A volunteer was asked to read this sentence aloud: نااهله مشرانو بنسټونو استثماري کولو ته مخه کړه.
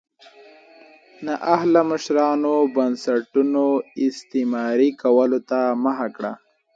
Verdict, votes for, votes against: rejected, 0, 2